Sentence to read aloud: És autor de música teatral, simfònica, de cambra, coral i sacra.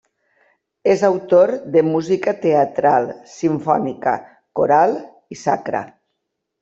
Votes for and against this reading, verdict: 0, 2, rejected